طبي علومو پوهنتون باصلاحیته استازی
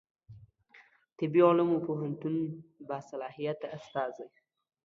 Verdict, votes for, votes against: accepted, 2, 0